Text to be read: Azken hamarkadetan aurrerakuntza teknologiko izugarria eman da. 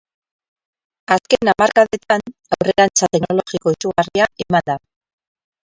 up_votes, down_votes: 0, 10